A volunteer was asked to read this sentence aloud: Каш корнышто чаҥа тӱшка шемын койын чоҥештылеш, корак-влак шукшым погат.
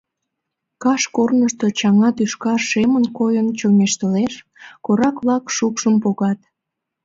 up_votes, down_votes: 2, 0